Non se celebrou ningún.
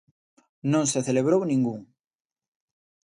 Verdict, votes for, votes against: accepted, 2, 0